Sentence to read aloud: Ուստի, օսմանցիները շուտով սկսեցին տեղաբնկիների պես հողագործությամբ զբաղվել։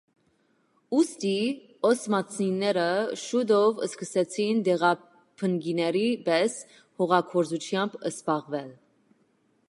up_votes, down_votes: 2, 1